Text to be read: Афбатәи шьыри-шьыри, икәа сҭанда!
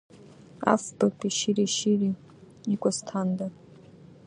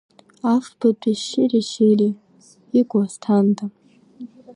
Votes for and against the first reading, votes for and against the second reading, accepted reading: 2, 0, 0, 2, first